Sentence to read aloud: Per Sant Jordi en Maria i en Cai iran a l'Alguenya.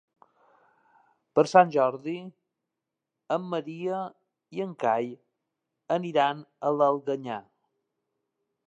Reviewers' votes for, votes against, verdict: 1, 3, rejected